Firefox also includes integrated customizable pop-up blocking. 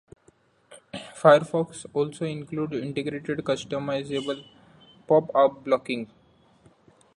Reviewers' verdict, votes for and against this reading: rejected, 0, 2